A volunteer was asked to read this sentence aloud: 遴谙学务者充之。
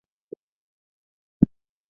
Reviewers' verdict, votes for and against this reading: rejected, 0, 2